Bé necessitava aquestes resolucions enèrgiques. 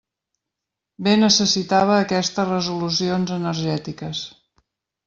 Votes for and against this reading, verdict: 1, 2, rejected